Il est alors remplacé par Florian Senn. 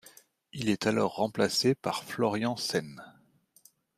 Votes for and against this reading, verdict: 2, 0, accepted